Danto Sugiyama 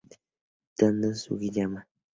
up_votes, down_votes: 0, 2